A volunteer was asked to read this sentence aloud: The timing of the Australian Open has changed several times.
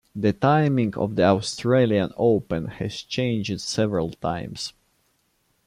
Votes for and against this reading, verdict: 2, 0, accepted